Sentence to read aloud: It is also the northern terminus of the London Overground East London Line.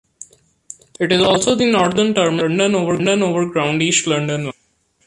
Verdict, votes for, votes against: rejected, 0, 2